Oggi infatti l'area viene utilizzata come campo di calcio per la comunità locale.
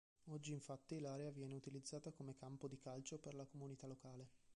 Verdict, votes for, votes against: rejected, 0, 2